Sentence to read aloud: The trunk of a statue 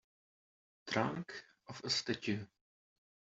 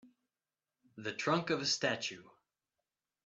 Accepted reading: second